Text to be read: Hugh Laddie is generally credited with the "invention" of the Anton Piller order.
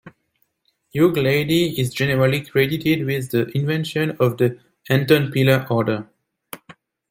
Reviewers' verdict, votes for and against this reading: rejected, 0, 2